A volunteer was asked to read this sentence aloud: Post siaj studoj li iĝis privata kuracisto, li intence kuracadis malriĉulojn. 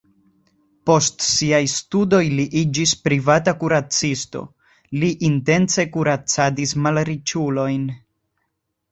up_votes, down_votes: 2, 0